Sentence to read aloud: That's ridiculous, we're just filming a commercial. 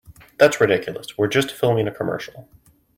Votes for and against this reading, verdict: 2, 1, accepted